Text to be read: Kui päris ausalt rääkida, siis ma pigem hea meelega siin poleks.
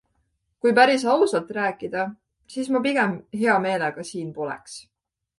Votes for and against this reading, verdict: 2, 0, accepted